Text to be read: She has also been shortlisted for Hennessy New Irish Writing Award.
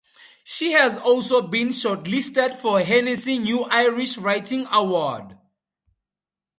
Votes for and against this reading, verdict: 2, 0, accepted